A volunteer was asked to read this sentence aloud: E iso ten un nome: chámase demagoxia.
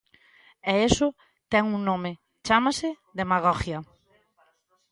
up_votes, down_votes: 0, 2